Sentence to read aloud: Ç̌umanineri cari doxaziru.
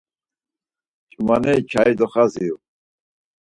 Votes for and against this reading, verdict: 2, 4, rejected